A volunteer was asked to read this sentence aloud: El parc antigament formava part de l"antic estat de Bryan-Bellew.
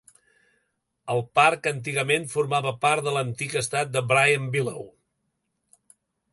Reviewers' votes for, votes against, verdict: 2, 0, accepted